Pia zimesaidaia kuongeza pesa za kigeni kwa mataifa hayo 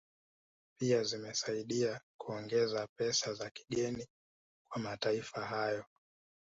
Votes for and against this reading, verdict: 0, 2, rejected